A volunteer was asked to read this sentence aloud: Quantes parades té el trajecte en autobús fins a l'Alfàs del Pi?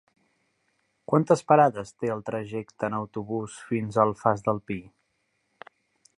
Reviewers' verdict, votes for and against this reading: rejected, 2, 3